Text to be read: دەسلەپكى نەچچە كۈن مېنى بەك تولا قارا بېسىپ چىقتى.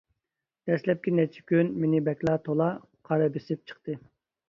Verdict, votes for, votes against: rejected, 1, 2